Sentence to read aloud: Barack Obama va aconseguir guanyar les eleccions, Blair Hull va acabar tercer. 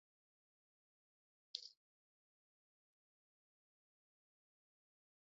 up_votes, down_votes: 0, 2